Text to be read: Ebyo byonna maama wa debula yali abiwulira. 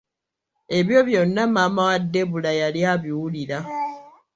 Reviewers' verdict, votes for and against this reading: rejected, 1, 2